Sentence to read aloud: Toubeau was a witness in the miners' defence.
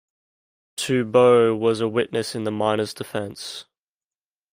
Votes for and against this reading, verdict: 2, 0, accepted